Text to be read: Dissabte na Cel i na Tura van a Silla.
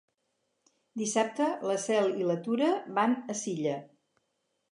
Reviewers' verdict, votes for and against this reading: rejected, 2, 4